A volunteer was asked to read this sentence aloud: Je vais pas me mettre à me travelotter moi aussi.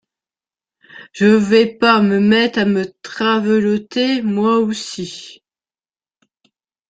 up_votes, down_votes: 1, 2